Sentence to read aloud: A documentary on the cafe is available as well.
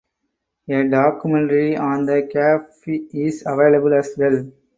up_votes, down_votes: 4, 0